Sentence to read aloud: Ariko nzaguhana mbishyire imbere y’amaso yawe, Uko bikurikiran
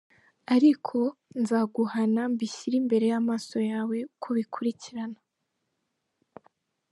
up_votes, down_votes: 3, 0